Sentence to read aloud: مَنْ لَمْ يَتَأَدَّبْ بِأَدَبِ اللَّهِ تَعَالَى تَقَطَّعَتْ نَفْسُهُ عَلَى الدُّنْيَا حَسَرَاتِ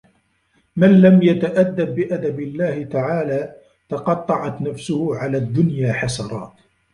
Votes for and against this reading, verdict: 0, 2, rejected